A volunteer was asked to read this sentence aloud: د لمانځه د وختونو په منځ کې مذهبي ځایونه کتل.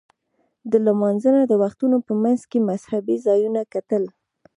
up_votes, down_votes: 3, 0